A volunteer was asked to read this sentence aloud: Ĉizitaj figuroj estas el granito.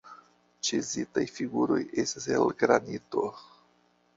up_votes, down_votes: 1, 2